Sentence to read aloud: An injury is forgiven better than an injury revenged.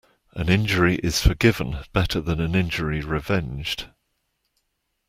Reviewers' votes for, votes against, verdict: 2, 0, accepted